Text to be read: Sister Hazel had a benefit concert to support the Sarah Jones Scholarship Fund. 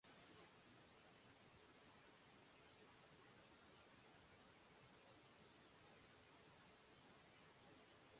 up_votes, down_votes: 0, 2